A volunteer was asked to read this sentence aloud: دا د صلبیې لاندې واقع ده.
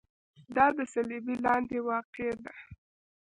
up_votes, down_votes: 1, 2